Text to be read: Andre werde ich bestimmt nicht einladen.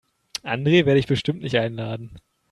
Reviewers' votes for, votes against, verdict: 2, 0, accepted